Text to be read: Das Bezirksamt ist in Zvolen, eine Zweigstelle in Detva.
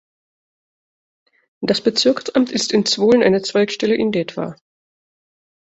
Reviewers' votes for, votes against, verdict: 2, 0, accepted